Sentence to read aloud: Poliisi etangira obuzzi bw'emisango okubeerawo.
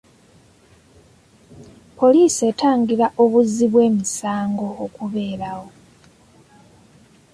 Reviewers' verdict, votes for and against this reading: accepted, 2, 0